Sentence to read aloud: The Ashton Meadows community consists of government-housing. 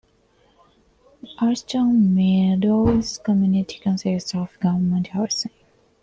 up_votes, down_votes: 1, 2